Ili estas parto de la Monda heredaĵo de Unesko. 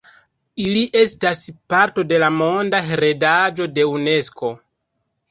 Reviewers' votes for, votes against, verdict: 1, 2, rejected